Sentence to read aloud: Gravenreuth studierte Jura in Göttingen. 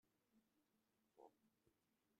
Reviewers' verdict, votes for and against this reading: rejected, 0, 2